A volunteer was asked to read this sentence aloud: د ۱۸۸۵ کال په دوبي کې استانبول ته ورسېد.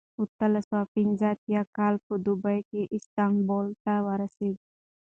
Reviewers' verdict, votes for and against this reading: rejected, 0, 2